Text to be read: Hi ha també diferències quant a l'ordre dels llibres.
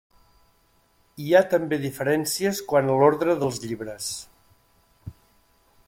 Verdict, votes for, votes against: accepted, 3, 0